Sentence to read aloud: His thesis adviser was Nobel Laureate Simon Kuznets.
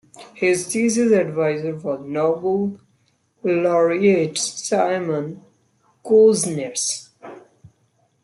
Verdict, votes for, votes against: accepted, 2, 0